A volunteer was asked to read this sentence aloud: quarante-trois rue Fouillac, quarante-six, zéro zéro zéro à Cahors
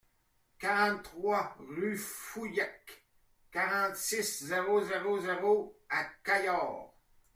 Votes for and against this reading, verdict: 2, 1, accepted